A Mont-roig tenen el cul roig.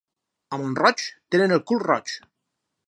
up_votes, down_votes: 4, 0